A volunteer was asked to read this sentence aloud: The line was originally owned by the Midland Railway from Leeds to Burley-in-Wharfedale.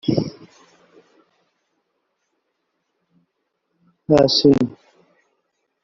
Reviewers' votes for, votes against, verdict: 0, 2, rejected